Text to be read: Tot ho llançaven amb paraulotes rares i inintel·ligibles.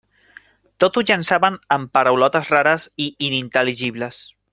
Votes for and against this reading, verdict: 2, 0, accepted